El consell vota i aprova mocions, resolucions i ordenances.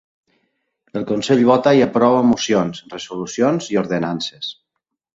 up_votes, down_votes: 2, 0